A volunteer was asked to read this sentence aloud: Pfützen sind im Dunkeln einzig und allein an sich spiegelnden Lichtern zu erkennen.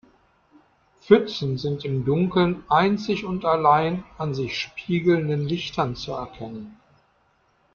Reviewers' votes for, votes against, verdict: 2, 1, accepted